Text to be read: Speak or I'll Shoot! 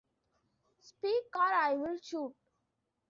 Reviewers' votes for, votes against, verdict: 2, 0, accepted